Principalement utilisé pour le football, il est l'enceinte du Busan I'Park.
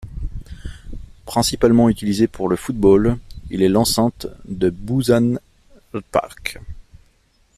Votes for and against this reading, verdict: 0, 2, rejected